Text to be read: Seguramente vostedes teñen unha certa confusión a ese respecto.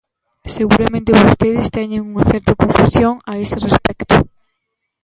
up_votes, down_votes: 0, 2